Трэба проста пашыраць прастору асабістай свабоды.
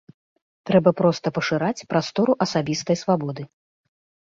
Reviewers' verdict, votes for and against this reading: accepted, 2, 0